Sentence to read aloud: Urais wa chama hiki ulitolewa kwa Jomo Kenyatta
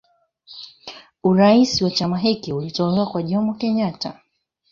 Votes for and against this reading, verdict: 3, 0, accepted